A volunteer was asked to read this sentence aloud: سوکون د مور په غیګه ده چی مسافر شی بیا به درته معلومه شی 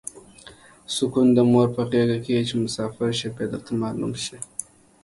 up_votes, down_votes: 3, 1